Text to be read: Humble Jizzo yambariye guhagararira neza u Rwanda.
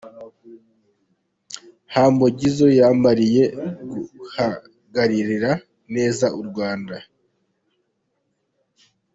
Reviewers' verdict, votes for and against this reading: rejected, 0, 2